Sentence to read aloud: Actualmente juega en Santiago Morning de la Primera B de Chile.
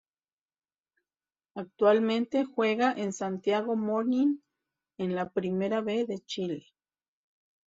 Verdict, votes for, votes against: rejected, 0, 2